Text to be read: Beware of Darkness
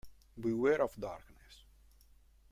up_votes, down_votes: 1, 2